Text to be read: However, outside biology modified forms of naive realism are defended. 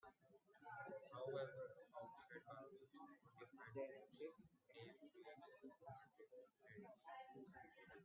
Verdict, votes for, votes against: rejected, 0, 2